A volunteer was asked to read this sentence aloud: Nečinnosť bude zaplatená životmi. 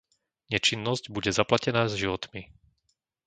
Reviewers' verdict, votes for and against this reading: rejected, 0, 2